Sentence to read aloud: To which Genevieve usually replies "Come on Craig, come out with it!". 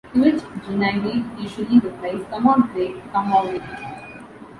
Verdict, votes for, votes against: rejected, 1, 2